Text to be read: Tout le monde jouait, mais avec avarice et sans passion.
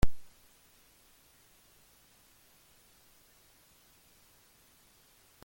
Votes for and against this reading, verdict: 0, 2, rejected